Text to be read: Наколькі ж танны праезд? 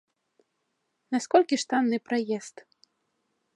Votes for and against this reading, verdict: 0, 2, rejected